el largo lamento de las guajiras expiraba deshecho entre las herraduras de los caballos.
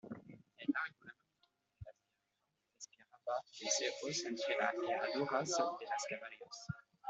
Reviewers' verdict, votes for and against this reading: rejected, 0, 2